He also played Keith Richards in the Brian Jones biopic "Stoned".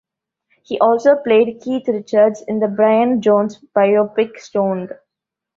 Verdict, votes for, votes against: accepted, 2, 0